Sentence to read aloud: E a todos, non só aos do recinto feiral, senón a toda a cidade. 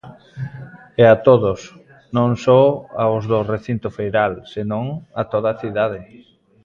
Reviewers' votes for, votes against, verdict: 0, 2, rejected